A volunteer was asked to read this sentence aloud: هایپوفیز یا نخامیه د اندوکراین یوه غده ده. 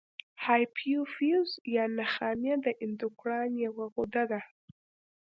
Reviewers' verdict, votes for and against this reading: accepted, 2, 0